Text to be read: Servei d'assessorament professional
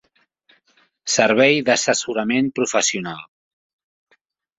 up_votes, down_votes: 5, 0